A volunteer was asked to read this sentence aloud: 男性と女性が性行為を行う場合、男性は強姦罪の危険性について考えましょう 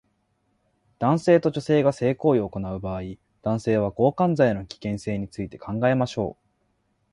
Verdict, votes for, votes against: accepted, 2, 0